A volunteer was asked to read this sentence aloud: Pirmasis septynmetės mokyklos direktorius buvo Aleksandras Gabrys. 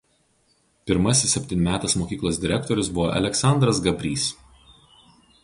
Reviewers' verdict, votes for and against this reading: accepted, 4, 0